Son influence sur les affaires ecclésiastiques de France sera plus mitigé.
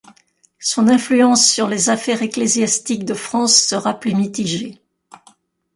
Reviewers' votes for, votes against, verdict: 2, 0, accepted